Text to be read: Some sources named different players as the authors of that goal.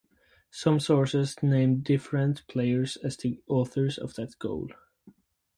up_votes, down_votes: 4, 0